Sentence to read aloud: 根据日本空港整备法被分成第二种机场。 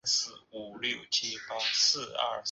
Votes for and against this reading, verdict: 0, 2, rejected